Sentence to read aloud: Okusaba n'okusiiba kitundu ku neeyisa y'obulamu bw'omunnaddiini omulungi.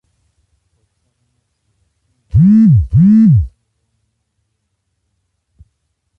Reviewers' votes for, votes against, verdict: 0, 2, rejected